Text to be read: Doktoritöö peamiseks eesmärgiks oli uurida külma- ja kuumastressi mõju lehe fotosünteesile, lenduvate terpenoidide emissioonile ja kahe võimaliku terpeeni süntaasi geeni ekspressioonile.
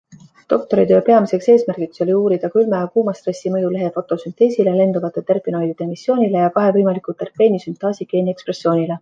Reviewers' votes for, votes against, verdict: 2, 0, accepted